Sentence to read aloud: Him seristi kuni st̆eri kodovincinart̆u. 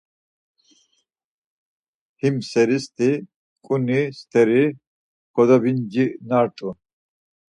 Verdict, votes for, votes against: accepted, 4, 0